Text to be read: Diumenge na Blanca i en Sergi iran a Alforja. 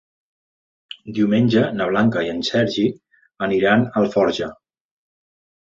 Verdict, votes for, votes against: rejected, 1, 4